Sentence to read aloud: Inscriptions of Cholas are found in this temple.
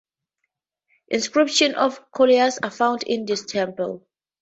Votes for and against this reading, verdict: 0, 2, rejected